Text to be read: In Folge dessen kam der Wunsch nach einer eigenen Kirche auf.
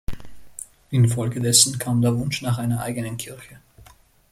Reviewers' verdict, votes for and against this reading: rejected, 0, 2